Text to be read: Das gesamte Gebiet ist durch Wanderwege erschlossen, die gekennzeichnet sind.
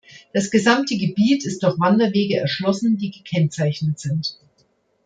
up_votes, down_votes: 2, 0